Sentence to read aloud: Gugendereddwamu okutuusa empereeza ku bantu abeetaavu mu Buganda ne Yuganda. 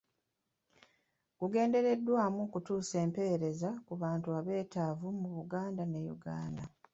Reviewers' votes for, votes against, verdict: 2, 0, accepted